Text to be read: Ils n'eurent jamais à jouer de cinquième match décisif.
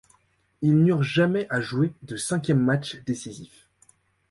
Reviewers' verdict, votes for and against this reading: accepted, 2, 0